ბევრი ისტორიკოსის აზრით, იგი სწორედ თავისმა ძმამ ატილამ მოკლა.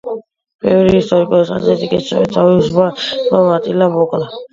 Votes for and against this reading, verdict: 0, 2, rejected